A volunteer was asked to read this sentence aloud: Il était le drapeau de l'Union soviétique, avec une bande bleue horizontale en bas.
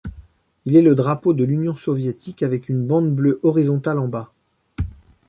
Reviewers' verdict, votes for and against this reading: rejected, 0, 2